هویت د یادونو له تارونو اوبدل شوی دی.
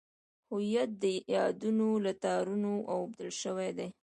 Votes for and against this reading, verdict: 2, 1, accepted